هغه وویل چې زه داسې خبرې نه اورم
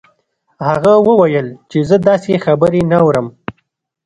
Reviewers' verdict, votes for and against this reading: accepted, 2, 0